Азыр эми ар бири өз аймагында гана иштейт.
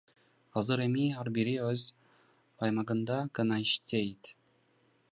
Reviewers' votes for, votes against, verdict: 1, 2, rejected